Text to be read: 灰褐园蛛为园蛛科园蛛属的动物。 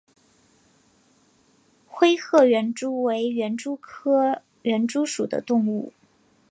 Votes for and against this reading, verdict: 3, 1, accepted